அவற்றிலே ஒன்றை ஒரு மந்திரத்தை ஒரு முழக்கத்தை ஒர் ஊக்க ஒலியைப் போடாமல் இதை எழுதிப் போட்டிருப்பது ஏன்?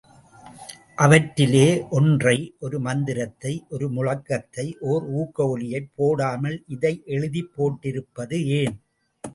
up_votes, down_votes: 2, 0